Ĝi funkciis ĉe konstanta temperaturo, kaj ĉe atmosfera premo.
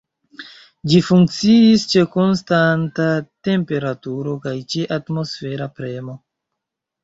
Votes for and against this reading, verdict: 2, 1, accepted